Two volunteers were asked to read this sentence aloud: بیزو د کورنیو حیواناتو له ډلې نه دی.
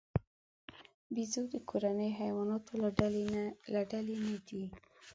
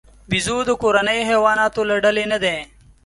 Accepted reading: second